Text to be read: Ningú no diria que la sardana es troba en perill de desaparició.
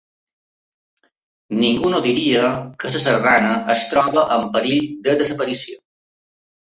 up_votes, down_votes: 0, 2